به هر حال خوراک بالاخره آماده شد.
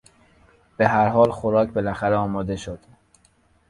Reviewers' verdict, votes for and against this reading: accepted, 2, 0